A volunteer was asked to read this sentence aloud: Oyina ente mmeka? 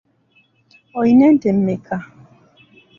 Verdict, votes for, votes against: accepted, 2, 1